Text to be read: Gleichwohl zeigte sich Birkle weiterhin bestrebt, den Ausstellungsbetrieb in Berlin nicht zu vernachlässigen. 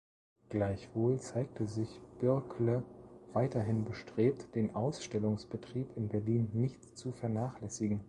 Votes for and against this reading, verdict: 3, 0, accepted